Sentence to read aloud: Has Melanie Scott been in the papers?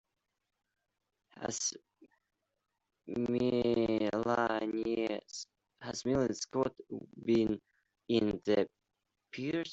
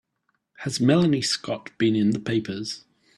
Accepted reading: second